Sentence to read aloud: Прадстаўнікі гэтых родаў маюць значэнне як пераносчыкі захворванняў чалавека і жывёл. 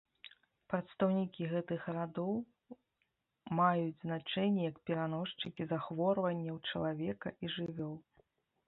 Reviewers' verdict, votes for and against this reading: rejected, 0, 2